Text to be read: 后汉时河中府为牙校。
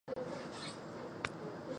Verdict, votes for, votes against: rejected, 0, 3